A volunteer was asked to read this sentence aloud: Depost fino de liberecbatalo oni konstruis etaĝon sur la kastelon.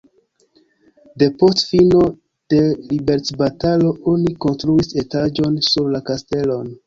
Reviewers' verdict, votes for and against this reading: accepted, 2, 1